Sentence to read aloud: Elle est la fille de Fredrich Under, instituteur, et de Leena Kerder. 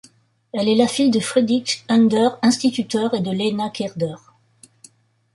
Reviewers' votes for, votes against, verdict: 0, 2, rejected